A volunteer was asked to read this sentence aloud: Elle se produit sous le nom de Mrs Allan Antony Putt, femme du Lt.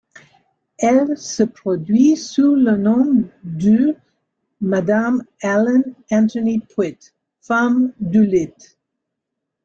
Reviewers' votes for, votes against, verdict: 0, 2, rejected